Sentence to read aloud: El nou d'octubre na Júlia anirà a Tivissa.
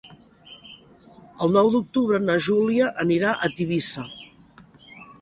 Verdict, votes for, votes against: accepted, 3, 0